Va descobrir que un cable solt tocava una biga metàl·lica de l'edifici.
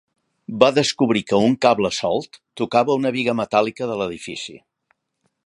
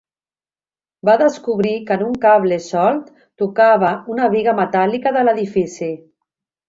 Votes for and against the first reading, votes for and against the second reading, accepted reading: 3, 0, 0, 3, first